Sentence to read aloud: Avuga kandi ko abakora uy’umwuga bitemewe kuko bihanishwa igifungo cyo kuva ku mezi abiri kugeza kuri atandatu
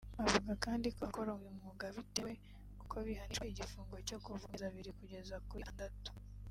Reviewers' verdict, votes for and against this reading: rejected, 1, 2